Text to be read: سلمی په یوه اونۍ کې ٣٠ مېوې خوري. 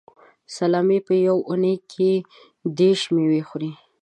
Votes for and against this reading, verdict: 0, 2, rejected